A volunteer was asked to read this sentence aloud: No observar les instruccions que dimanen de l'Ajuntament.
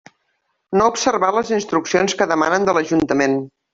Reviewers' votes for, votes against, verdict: 0, 2, rejected